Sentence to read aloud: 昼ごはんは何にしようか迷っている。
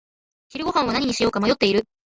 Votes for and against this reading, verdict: 2, 0, accepted